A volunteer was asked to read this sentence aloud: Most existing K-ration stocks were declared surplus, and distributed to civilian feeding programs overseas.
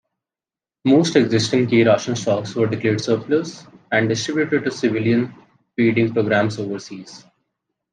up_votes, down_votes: 1, 2